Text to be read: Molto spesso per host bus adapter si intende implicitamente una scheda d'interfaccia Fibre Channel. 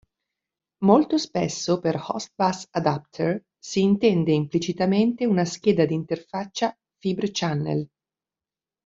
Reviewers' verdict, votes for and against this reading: rejected, 0, 2